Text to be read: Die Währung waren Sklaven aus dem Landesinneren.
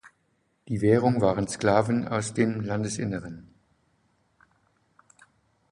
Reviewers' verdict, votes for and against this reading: accepted, 2, 0